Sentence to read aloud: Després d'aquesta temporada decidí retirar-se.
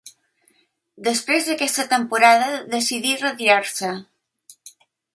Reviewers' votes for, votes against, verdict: 2, 0, accepted